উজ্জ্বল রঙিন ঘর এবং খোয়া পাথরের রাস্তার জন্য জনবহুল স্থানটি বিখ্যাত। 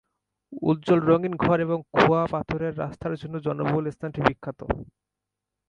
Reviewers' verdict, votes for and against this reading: accepted, 2, 0